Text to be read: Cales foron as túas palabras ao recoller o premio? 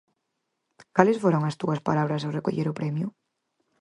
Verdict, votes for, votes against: accepted, 4, 0